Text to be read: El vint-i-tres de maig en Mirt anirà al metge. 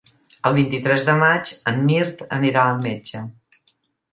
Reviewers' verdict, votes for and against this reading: accepted, 2, 0